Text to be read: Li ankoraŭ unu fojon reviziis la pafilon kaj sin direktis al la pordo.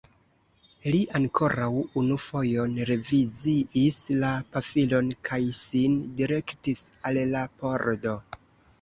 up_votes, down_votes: 1, 2